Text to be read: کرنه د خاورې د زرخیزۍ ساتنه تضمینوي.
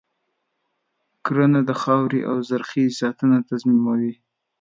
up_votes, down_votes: 2, 0